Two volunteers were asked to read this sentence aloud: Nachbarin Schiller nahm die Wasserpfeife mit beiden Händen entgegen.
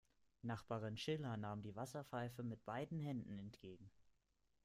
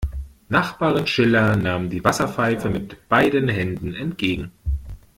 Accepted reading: second